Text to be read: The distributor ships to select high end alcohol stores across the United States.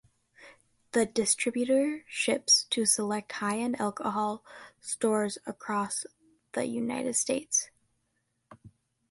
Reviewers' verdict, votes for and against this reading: accepted, 2, 0